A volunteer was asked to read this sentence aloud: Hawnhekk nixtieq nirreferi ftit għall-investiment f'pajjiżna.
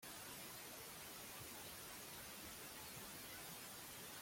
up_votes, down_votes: 0, 2